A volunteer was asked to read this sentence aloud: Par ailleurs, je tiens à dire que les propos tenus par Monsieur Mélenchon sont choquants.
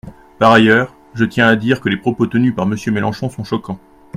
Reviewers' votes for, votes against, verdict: 2, 0, accepted